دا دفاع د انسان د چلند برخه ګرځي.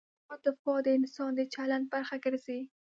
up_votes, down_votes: 2, 0